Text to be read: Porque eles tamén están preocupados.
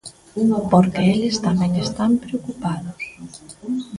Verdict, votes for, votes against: rejected, 0, 2